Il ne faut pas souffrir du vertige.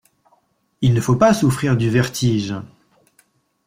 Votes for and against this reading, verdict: 2, 0, accepted